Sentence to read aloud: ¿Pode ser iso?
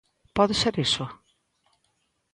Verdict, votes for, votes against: accepted, 2, 0